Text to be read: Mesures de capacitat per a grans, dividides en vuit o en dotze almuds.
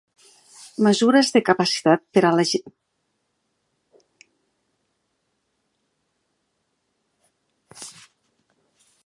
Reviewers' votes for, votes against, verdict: 0, 2, rejected